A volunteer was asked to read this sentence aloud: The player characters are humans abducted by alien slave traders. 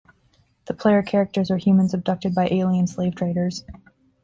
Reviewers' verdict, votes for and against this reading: accepted, 2, 0